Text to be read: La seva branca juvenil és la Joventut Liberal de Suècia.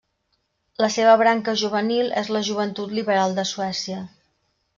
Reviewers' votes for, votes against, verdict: 3, 0, accepted